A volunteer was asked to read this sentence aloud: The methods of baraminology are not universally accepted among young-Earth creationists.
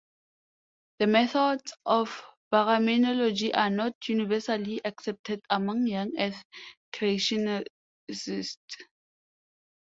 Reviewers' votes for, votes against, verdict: 1, 2, rejected